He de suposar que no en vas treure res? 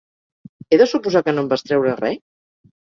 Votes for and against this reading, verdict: 2, 4, rejected